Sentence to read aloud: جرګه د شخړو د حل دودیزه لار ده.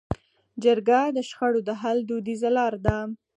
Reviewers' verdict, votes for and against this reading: accepted, 4, 2